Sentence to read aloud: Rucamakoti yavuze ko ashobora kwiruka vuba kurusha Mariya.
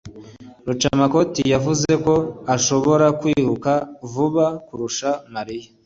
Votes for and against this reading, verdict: 2, 0, accepted